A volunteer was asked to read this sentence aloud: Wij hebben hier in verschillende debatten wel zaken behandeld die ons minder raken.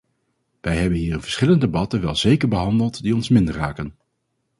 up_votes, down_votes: 0, 4